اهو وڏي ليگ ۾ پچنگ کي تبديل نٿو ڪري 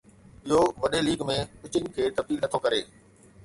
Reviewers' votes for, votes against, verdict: 2, 0, accepted